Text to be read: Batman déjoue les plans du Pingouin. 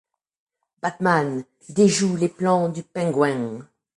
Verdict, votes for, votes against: rejected, 0, 2